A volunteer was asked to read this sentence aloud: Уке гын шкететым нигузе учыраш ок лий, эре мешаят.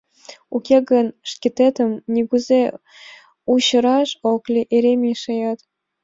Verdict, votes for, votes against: accepted, 2, 0